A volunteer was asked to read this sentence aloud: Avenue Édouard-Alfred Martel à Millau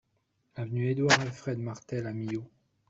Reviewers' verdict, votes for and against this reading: accepted, 2, 1